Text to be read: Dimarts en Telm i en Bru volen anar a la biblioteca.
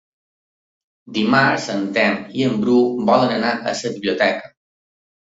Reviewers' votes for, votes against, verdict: 0, 2, rejected